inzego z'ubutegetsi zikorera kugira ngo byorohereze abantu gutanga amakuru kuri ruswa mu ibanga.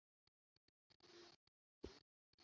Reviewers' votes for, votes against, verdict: 0, 2, rejected